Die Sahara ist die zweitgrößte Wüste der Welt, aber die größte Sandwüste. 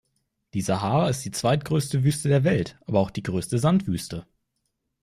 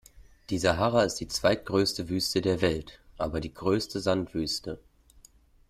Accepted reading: second